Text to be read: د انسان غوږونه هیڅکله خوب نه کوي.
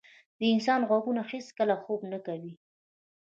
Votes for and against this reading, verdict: 0, 2, rejected